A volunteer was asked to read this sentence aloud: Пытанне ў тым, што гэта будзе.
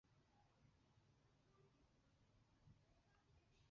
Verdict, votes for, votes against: rejected, 1, 2